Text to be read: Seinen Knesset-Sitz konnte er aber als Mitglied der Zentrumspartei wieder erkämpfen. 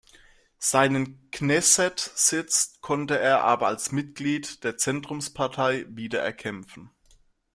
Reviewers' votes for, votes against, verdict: 2, 1, accepted